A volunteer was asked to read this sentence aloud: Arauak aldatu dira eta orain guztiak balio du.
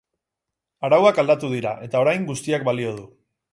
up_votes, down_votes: 4, 0